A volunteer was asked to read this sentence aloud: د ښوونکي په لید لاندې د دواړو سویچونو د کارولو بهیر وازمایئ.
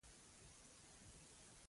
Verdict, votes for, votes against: rejected, 0, 2